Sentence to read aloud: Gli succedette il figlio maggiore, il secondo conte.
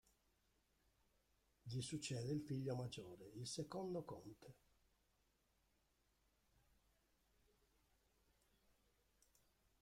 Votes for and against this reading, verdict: 0, 2, rejected